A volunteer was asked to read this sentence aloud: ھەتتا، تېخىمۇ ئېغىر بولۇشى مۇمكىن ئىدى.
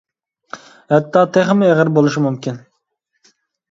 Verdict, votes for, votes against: accepted, 2, 0